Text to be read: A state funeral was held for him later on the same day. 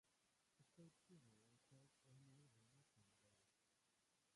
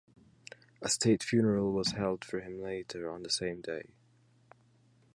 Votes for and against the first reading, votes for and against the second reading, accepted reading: 0, 2, 2, 0, second